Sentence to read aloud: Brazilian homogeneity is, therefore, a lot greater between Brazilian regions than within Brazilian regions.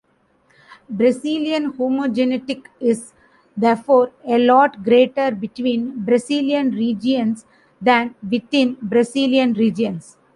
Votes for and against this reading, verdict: 1, 2, rejected